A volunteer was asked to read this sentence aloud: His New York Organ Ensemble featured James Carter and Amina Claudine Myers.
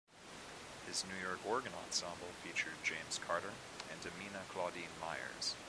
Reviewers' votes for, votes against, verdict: 2, 0, accepted